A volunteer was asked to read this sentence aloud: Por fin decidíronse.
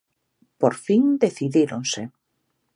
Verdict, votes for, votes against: accepted, 2, 0